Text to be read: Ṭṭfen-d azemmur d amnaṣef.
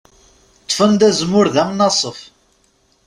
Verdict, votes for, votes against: accepted, 2, 0